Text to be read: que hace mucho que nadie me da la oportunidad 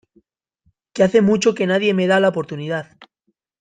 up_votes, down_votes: 2, 0